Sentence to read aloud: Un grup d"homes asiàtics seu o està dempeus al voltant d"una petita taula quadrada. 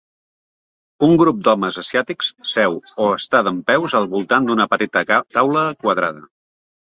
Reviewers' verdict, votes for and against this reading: rejected, 0, 2